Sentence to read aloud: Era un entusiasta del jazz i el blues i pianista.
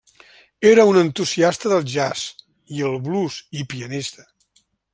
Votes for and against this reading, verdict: 3, 0, accepted